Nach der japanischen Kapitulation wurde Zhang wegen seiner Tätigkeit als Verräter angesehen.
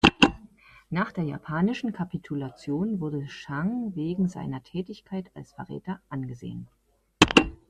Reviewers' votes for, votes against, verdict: 2, 1, accepted